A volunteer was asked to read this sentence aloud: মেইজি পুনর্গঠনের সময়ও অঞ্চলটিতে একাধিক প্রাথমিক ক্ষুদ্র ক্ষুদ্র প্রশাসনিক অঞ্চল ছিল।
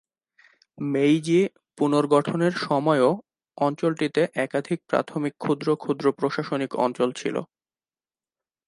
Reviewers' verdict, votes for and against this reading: accepted, 2, 0